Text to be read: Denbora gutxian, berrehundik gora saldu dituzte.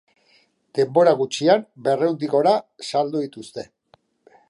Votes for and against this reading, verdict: 2, 0, accepted